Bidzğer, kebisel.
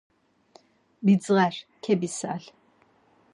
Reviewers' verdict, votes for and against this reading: accepted, 4, 0